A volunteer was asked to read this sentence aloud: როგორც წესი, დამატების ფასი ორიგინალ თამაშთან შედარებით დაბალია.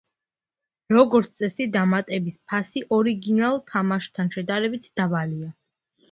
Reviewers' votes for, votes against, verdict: 2, 0, accepted